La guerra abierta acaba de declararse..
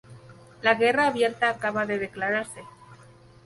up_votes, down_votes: 0, 2